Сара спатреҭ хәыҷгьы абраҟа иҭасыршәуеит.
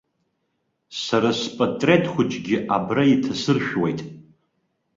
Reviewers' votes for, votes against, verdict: 1, 2, rejected